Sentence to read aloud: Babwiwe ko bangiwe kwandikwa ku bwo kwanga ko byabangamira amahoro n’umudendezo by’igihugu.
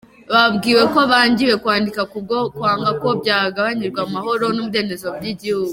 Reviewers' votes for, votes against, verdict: 2, 0, accepted